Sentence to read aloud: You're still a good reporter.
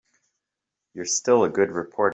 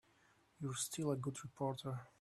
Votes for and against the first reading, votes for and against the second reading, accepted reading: 1, 2, 2, 1, second